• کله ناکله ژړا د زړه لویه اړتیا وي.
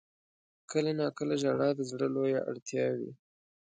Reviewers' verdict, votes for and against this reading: accepted, 2, 0